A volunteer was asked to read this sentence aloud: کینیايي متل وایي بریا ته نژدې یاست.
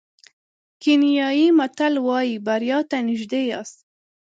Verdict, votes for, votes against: accepted, 2, 0